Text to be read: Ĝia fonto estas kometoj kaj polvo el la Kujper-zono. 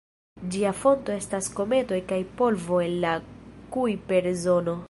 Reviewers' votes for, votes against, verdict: 2, 1, accepted